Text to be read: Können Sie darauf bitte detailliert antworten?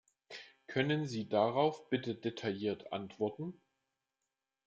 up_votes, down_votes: 2, 0